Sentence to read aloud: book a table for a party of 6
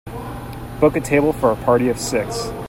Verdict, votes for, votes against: rejected, 0, 2